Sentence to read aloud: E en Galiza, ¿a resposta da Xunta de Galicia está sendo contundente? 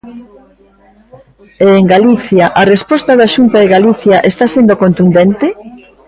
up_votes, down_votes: 2, 1